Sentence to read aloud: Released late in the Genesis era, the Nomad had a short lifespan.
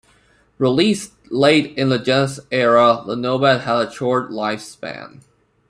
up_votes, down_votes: 1, 2